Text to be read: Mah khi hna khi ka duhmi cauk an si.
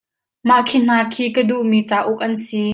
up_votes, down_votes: 2, 0